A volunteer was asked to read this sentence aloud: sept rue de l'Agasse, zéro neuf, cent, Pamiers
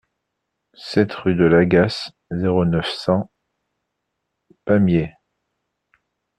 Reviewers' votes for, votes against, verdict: 2, 1, accepted